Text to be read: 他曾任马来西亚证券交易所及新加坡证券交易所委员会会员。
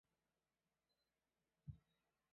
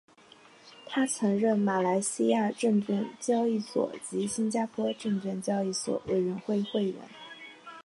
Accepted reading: second